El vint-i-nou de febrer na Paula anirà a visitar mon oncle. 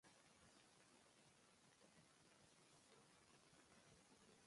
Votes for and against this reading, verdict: 0, 2, rejected